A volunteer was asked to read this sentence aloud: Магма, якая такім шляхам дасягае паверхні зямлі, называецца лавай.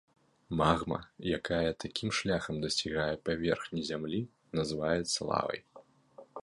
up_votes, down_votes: 2, 0